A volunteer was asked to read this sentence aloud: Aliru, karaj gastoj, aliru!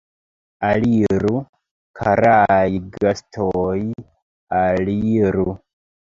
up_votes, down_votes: 0, 2